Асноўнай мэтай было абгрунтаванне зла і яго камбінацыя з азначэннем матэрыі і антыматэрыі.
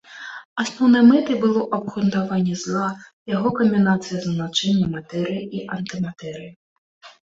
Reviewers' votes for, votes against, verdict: 0, 2, rejected